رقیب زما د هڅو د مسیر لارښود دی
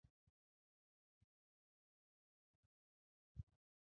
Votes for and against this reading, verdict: 0, 2, rejected